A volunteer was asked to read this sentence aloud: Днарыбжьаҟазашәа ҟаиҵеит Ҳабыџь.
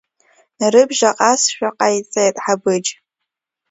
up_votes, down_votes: 0, 2